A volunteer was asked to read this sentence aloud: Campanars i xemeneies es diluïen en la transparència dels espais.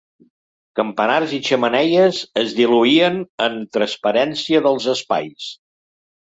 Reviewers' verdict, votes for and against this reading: rejected, 0, 2